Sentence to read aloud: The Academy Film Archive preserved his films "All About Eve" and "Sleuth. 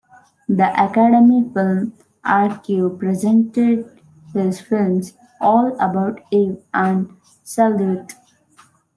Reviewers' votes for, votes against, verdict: 1, 2, rejected